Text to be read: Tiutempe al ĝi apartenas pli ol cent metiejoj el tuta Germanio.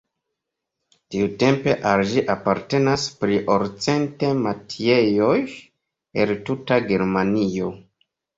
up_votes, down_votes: 3, 0